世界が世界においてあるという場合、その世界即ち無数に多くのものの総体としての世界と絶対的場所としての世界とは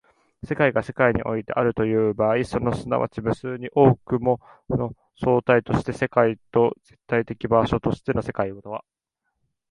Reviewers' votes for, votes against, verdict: 0, 2, rejected